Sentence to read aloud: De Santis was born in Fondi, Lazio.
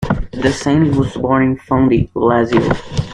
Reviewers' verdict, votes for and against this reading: rejected, 0, 2